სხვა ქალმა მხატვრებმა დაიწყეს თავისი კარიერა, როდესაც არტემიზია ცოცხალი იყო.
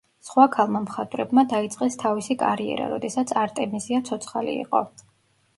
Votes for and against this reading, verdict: 2, 0, accepted